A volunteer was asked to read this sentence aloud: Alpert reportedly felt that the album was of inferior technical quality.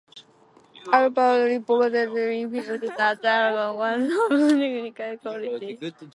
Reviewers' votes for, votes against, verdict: 0, 2, rejected